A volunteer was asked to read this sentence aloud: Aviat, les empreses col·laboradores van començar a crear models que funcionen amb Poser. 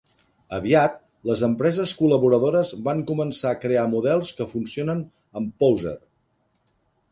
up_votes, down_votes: 2, 0